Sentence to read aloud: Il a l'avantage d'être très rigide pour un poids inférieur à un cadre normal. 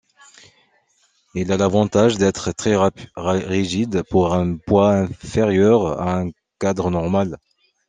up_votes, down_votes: 0, 2